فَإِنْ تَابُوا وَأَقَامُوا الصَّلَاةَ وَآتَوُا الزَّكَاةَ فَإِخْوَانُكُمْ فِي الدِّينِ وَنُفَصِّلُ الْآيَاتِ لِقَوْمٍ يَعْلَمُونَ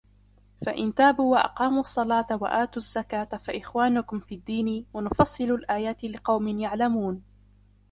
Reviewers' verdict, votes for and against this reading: rejected, 0, 2